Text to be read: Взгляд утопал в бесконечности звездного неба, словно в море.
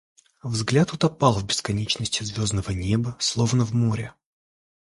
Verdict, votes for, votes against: accepted, 2, 0